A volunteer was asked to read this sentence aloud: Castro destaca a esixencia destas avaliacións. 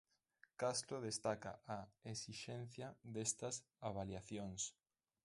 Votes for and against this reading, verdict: 1, 2, rejected